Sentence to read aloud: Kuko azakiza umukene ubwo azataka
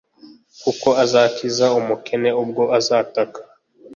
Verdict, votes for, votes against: accepted, 2, 0